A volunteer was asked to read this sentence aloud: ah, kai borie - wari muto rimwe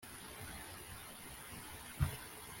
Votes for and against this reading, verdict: 0, 2, rejected